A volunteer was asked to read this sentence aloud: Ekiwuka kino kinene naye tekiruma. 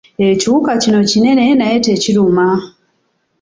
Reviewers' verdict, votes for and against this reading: accepted, 2, 1